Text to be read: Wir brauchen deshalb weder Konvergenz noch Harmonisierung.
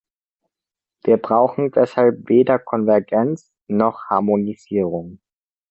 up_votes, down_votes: 2, 0